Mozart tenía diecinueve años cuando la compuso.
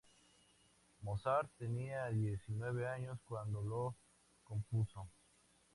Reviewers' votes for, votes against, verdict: 2, 0, accepted